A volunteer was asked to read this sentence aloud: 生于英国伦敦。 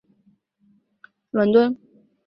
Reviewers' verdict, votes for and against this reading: rejected, 0, 4